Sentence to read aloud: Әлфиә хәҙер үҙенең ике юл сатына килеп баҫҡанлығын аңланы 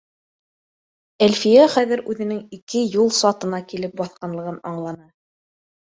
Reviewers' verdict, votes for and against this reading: accepted, 2, 0